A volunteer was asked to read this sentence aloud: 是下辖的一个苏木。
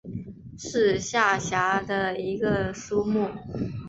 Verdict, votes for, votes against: accepted, 4, 0